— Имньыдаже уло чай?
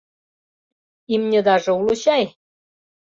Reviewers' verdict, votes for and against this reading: accepted, 2, 0